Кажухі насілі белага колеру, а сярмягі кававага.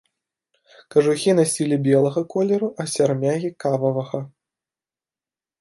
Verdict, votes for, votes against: accepted, 2, 1